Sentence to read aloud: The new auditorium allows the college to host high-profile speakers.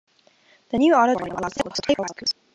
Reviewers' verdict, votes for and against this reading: rejected, 0, 2